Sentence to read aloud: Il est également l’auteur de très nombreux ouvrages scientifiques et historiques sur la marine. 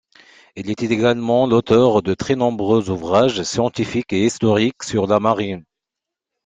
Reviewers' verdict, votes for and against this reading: accepted, 2, 0